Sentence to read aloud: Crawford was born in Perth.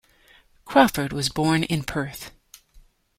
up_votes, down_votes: 2, 0